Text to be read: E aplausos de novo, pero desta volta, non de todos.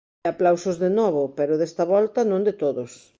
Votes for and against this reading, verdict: 1, 2, rejected